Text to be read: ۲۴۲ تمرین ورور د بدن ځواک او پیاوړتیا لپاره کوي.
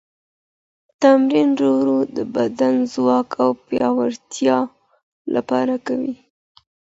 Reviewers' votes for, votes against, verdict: 0, 2, rejected